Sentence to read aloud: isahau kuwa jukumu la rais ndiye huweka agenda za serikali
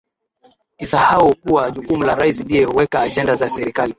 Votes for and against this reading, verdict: 14, 0, accepted